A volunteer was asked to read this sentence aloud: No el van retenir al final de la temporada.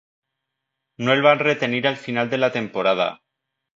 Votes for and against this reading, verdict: 2, 0, accepted